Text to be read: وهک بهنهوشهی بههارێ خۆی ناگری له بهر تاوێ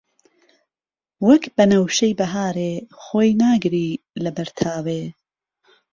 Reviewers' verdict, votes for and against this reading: accepted, 2, 0